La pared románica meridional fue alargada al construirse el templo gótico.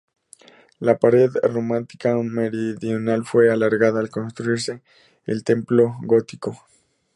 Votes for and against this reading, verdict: 0, 2, rejected